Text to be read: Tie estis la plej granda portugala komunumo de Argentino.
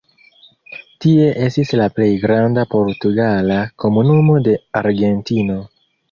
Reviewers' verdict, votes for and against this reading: accepted, 2, 0